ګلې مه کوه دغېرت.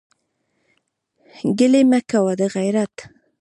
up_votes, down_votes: 0, 2